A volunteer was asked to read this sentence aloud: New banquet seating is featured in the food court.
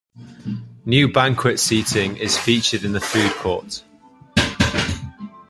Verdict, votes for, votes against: accepted, 2, 0